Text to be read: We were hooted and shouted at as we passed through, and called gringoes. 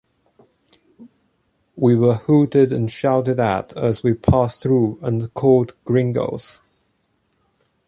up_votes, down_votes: 2, 0